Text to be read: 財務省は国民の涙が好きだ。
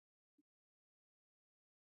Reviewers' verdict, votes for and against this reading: rejected, 0, 2